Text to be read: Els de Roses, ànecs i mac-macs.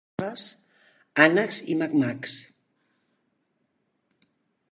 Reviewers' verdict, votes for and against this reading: rejected, 0, 2